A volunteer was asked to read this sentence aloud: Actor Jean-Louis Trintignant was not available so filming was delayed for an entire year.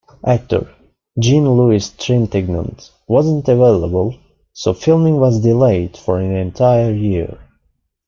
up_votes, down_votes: 2, 1